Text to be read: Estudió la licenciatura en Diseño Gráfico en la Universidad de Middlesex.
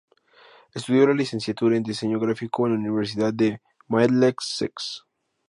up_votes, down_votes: 2, 0